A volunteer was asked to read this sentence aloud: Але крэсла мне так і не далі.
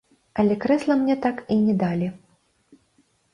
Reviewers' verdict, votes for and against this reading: accepted, 2, 0